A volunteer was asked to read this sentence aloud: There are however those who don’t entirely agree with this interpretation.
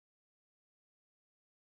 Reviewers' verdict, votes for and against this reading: rejected, 1, 2